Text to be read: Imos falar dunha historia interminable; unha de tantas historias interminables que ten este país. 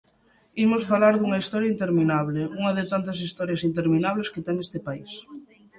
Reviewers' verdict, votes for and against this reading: accepted, 2, 0